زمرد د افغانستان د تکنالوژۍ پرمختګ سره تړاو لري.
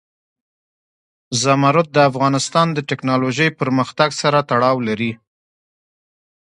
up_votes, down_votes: 1, 2